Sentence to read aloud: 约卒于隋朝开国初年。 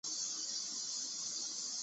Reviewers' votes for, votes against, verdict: 0, 2, rejected